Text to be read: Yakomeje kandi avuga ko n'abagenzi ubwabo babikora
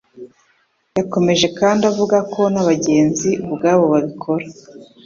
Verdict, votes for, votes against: accepted, 2, 0